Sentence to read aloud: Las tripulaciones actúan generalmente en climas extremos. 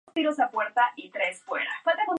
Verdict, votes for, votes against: rejected, 0, 2